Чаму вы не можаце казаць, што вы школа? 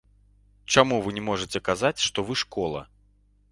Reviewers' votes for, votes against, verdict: 2, 0, accepted